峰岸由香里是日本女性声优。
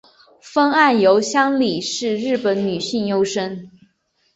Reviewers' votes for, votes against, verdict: 0, 3, rejected